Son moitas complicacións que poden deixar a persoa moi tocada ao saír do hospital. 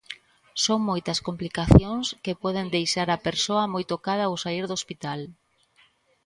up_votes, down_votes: 2, 0